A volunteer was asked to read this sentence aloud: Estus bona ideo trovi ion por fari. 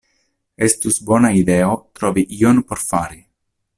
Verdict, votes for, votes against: accepted, 2, 0